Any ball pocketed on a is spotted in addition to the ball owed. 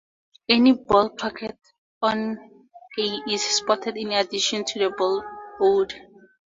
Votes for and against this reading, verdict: 2, 0, accepted